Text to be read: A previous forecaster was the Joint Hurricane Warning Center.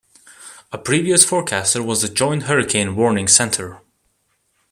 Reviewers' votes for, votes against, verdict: 2, 0, accepted